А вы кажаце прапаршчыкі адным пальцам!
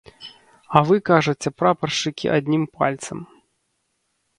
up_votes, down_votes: 1, 2